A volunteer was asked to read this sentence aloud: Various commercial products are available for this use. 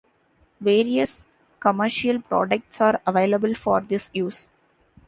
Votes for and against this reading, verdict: 2, 0, accepted